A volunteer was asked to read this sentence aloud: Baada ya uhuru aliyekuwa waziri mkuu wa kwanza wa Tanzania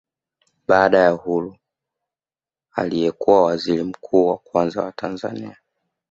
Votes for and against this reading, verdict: 2, 0, accepted